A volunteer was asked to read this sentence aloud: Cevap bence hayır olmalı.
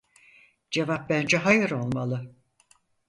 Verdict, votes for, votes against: accepted, 4, 0